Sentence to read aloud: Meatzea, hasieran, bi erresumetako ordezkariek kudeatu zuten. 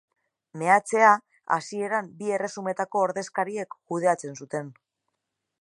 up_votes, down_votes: 0, 2